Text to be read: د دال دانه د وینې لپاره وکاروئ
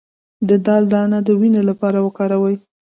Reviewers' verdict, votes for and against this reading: rejected, 1, 2